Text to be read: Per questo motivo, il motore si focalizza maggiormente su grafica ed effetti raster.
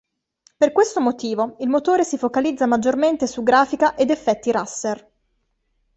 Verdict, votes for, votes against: rejected, 1, 2